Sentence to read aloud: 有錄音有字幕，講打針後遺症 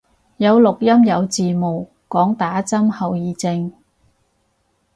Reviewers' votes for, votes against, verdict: 2, 4, rejected